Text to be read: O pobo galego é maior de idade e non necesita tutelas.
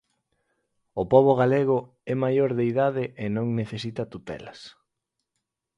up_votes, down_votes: 4, 0